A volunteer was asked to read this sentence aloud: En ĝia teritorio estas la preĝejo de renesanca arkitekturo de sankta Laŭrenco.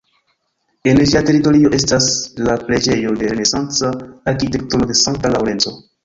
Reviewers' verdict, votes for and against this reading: accepted, 2, 1